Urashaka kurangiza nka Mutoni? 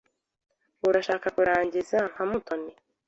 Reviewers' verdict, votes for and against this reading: accepted, 2, 0